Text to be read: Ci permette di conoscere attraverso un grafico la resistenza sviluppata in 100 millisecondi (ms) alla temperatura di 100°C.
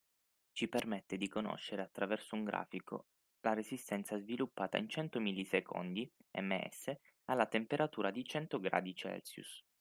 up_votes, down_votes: 0, 2